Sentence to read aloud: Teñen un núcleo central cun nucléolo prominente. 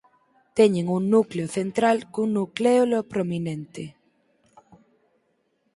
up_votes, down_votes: 4, 0